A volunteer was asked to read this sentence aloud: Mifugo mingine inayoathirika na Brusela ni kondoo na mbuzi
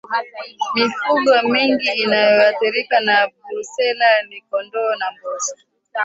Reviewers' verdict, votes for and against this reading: rejected, 1, 2